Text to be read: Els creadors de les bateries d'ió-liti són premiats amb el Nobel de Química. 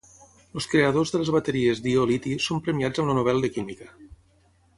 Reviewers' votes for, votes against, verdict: 3, 3, rejected